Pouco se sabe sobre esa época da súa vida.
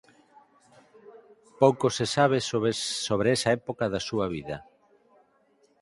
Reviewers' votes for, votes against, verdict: 0, 4, rejected